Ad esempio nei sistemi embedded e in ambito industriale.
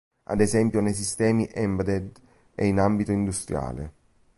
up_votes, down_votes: 1, 2